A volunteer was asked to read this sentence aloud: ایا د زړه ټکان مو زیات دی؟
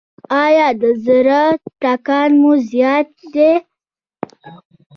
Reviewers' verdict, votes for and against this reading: rejected, 1, 2